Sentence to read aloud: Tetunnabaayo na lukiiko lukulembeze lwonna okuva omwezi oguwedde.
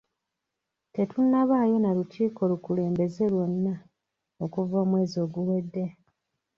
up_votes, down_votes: 3, 1